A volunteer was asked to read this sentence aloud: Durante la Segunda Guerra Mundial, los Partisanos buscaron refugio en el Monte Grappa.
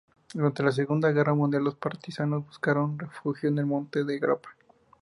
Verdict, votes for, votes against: accepted, 2, 0